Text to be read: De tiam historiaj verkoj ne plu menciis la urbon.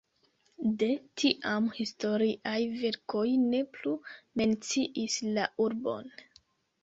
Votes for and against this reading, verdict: 2, 3, rejected